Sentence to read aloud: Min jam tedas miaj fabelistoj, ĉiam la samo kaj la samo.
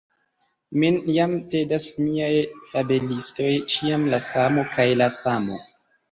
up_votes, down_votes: 2, 0